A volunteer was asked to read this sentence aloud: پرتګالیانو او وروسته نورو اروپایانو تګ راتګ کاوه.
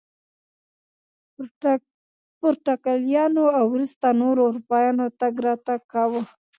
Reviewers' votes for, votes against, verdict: 1, 2, rejected